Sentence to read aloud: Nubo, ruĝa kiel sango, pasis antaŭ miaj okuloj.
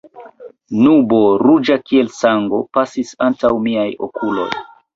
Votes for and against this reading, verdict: 3, 0, accepted